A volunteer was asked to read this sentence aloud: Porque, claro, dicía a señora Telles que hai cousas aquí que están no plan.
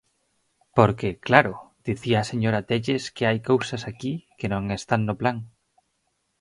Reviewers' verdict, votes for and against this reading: rejected, 0, 4